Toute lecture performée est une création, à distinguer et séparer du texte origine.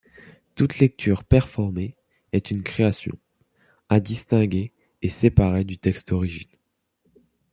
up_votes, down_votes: 2, 0